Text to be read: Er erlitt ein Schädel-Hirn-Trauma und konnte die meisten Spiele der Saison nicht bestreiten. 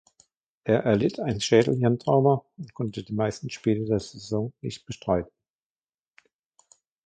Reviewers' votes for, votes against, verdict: 1, 2, rejected